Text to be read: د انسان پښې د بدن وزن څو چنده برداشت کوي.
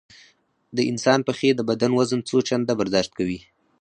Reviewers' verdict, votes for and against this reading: accepted, 4, 2